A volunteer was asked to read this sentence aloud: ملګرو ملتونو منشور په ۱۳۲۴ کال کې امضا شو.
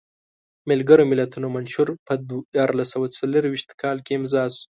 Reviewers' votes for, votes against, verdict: 0, 2, rejected